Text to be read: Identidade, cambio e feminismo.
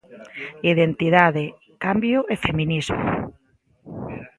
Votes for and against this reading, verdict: 2, 0, accepted